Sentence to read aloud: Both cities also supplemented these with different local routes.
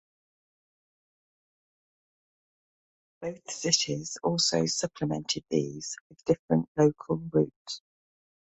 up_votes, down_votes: 2, 0